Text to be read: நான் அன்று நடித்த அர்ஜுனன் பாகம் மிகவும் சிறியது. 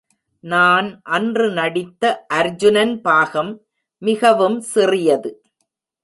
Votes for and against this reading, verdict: 2, 0, accepted